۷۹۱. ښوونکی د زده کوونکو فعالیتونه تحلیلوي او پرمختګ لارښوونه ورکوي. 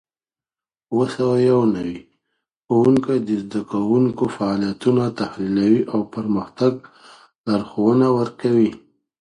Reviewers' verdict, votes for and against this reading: rejected, 0, 2